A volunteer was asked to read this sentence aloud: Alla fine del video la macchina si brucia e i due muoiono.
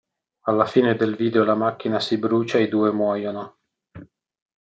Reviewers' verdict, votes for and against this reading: accepted, 2, 0